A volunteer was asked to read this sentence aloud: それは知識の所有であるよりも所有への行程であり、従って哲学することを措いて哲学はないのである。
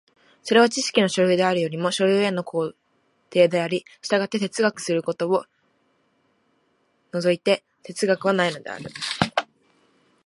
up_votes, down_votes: 2, 0